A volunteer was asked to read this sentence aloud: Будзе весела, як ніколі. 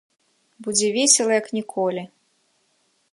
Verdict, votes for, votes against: accepted, 2, 0